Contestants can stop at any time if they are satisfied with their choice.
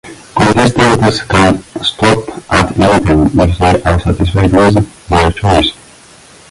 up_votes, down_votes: 0, 2